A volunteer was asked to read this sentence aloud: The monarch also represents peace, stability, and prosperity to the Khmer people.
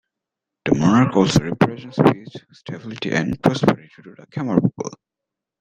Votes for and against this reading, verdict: 0, 2, rejected